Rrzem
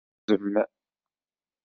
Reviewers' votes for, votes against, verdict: 0, 2, rejected